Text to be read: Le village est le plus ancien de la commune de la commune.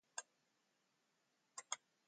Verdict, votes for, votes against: rejected, 1, 2